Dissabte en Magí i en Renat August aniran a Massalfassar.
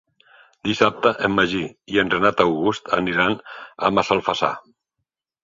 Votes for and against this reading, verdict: 3, 0, accepted